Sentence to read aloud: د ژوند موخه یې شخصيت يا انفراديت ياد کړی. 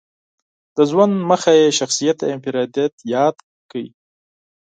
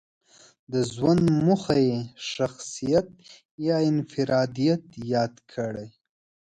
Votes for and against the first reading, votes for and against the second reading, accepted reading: 2, 4, 2, 0, second